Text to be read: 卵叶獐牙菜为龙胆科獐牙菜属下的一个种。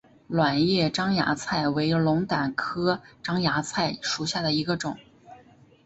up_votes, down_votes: 0, 2